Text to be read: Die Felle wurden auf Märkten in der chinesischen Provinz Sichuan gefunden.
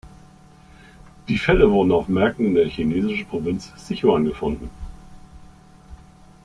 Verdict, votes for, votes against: rejected, 1, 2